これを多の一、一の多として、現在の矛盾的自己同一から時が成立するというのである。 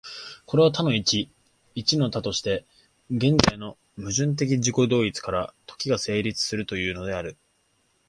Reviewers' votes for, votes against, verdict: 2, 0, accepted